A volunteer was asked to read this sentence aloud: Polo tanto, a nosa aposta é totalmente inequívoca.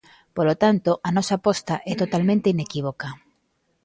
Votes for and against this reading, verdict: 2, 0, accepted